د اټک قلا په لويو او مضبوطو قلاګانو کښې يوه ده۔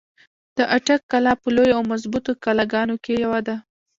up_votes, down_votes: 2, 1